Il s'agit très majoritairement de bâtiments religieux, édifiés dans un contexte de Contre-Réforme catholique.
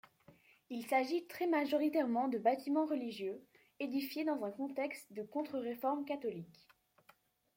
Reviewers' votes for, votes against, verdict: 2, 0, accepted